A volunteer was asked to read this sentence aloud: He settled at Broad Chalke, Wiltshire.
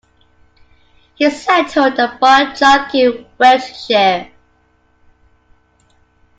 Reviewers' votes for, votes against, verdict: 0, 2, rejected